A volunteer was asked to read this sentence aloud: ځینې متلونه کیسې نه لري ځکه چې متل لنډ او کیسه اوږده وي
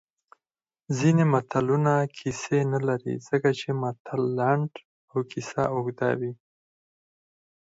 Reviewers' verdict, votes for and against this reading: rejected, 0, 4